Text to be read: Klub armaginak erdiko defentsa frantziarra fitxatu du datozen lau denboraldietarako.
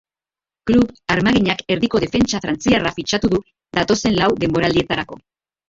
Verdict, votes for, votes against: rejected, 1, 2